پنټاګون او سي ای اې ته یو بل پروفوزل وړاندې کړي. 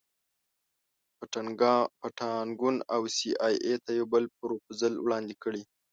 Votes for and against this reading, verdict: 1, 2, rejected